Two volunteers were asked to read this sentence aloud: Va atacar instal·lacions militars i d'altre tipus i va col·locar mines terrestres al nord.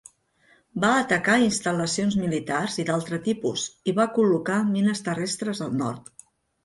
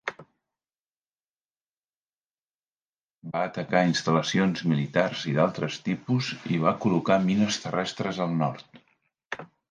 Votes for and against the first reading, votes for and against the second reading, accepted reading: 3, 0, 0, 2, first